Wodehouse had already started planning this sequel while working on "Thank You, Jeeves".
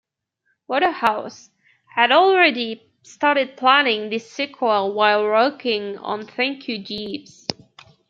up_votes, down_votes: 2, 0